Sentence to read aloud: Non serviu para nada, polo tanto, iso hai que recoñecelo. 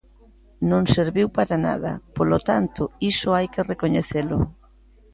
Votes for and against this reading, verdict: 2, 0, accepted